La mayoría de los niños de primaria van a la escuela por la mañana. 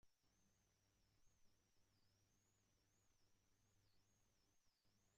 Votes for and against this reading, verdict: 0, 2, rejected